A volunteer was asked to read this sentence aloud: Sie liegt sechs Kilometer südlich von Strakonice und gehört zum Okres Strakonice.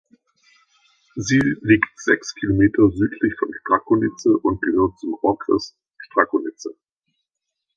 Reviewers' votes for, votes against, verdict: 2, 1, accepted